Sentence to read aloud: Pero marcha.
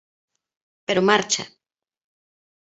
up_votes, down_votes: 3, 0